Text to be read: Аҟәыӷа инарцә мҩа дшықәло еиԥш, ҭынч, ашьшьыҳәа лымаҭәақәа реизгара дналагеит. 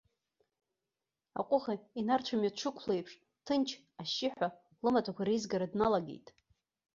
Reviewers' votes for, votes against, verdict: 1, 2, rejected